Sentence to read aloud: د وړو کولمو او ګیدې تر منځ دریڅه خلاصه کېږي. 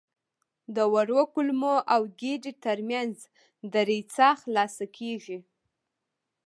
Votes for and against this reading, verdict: 1, 2, rejected